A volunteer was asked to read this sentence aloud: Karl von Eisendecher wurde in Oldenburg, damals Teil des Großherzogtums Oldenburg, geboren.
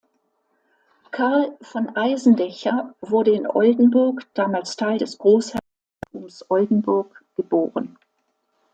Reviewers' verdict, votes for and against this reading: rejected, 0, 2